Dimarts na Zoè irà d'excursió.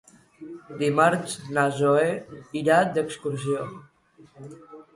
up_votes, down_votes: 2, 0